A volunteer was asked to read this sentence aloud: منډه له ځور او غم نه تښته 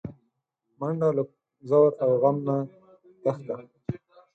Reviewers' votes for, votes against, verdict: 0, 4, rejected